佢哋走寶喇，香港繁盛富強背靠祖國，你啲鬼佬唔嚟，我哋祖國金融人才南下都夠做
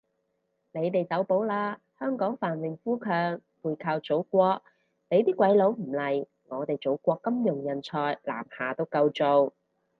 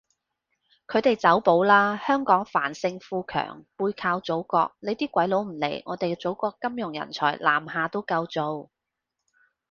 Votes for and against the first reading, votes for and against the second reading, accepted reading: 2, 4, 2, 0, second